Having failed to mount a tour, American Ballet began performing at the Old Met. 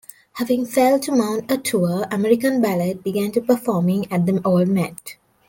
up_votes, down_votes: 1, 2